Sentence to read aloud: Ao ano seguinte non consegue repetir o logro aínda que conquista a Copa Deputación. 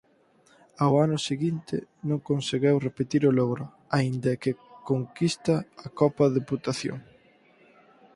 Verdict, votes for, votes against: rejected, 2, 4